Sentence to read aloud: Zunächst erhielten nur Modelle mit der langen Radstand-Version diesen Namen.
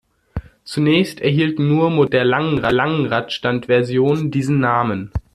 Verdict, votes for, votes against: rejected, 0, 2